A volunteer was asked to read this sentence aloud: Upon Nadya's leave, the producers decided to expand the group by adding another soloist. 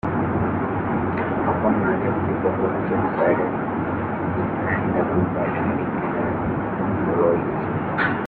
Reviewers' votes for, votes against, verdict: 0, 2, rejected